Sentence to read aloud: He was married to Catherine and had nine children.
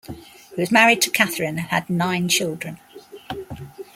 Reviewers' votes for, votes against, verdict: 1, 2, rejected